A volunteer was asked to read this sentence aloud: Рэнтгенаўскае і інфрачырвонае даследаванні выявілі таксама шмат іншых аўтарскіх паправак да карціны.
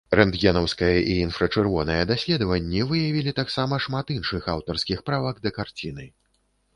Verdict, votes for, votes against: rejected, 0, 2